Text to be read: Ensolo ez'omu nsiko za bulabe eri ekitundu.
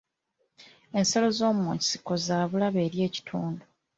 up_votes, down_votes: 1, 3